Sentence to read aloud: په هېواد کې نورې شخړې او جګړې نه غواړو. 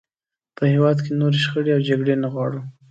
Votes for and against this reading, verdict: 2, 0, accepted